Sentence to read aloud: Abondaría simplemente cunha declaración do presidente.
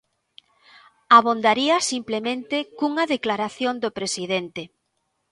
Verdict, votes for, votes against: accepted, 2, 0